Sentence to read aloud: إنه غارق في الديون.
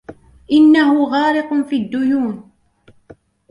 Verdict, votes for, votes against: accepted, 2, 0